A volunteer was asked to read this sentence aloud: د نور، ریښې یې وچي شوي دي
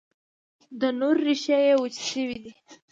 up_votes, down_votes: 2, 0